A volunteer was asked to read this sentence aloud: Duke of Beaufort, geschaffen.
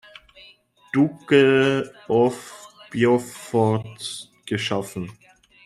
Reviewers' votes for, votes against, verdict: 1, 2, rejected